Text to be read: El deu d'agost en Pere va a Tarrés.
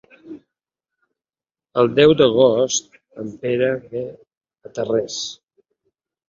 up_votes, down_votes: 1, 2